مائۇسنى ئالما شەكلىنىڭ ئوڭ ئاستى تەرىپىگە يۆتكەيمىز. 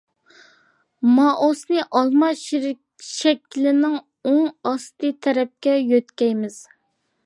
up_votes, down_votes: 0, 2